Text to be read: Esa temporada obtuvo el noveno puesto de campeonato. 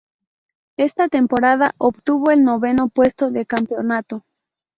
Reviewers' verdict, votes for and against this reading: rejected, 0, 2